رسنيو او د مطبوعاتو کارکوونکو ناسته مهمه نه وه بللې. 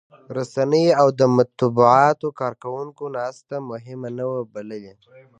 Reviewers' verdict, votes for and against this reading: accepted, 2, 1